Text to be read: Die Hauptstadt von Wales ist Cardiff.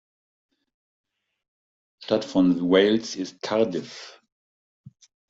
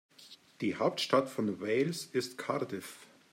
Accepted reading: second